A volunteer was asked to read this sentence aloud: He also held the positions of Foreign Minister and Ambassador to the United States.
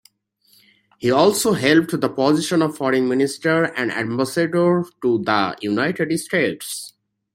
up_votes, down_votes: 0, 2